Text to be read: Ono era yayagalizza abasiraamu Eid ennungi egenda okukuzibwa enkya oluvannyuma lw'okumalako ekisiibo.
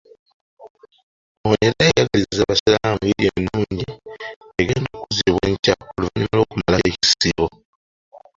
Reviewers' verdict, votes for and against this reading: rejected, 0, 2